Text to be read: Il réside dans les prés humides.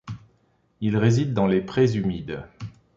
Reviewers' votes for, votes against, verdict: 2, 0, accepted